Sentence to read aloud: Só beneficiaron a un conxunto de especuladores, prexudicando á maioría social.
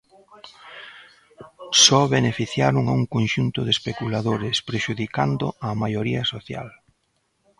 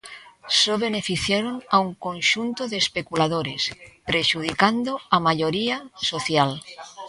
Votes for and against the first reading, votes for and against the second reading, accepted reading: 0, 2, 2, 0, second